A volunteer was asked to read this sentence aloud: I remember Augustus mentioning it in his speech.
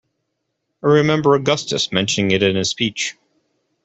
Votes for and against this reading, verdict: 2, 0, accepted